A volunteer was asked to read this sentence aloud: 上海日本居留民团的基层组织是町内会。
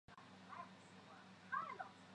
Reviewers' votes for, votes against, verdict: 1, 2, rejected